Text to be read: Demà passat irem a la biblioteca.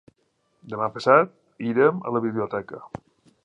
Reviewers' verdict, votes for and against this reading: accepted, 2, 0